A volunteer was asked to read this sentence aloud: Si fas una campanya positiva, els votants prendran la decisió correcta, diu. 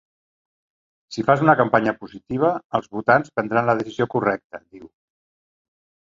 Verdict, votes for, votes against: rejected, 0, 2